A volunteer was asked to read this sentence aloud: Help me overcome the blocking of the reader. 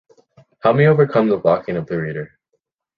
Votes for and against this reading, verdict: 2, 0, accepted